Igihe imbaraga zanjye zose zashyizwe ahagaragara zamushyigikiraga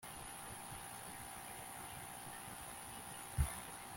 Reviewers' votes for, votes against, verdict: 1, 2, rejected